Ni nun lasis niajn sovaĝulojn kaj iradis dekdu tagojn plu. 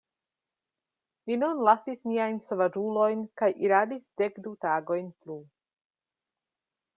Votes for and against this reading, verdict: 2, 0, accepted